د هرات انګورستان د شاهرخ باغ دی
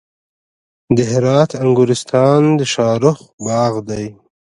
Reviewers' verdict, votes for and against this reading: rejected, 1, 2